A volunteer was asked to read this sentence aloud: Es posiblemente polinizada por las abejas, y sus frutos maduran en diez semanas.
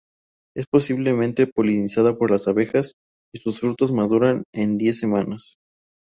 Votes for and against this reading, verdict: 2, 2, rejected